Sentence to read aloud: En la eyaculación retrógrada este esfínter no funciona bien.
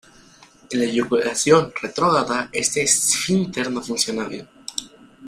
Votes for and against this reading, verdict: 0, 2, rejected